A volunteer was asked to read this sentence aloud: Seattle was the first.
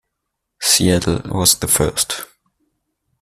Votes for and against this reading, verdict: 2, 0, accepted